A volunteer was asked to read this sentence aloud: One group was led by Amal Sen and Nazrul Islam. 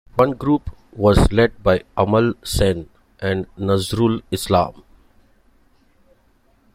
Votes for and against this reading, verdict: 2, 0, accepted